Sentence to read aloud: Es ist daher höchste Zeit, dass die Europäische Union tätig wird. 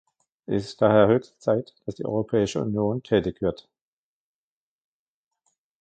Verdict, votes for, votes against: rejected, 1, 2